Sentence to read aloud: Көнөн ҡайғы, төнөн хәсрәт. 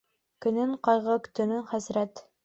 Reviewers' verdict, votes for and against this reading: accepted, 2, 1